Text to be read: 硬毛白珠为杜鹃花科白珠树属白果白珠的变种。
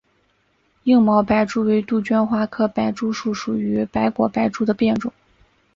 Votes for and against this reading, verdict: 3, 0, accepted